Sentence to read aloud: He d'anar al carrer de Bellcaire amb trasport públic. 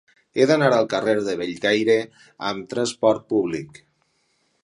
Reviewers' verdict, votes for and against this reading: accepted, 4, 0